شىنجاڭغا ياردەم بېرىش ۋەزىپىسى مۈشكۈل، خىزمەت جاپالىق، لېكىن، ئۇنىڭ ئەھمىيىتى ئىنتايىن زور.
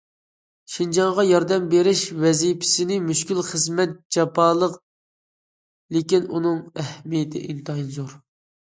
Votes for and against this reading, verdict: 0, 2, rejected